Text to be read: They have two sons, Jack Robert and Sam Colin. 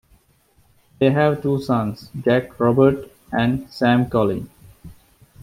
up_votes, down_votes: 2, 0